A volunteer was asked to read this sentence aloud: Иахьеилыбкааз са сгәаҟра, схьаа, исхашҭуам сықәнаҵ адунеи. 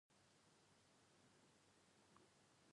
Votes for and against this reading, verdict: 0, 2, rejected